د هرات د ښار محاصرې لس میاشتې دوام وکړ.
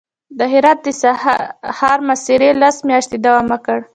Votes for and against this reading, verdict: 2, 1, accepted